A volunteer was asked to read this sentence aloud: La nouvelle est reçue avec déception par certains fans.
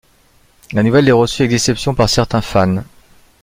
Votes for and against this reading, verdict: 2, 0, accepted